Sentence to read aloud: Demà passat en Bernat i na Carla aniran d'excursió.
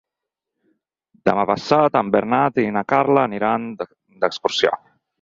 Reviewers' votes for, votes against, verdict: 2, 4, rejected